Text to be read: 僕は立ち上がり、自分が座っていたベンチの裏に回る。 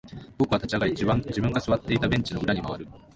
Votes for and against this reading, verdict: 0, 2, rejected